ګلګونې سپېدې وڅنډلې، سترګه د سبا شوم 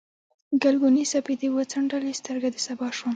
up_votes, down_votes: 2, 1